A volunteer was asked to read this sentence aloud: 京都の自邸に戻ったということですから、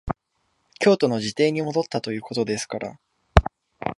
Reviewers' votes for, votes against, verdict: 2, 0, accepted